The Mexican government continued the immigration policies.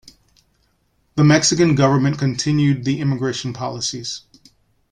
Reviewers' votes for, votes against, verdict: 2, 0, accepted